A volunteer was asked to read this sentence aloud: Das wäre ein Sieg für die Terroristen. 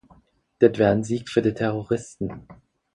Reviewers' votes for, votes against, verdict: 0, 4, rejected